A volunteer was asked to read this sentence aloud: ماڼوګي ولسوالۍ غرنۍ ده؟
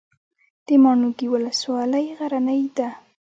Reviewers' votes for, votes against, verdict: 1, 2, rejected